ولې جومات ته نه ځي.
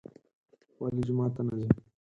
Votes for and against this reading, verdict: 2, 4, rejected